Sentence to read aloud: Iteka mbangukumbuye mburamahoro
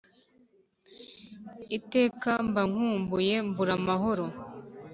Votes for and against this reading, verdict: 3, 1, accepted